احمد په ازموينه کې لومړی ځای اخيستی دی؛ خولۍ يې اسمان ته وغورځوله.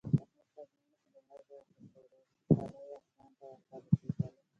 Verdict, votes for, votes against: rejected, 0, 2